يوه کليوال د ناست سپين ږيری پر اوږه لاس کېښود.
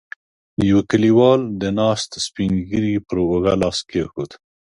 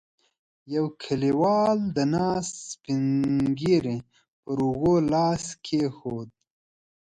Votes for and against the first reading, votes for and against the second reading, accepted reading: 2, 0, 0, 2, first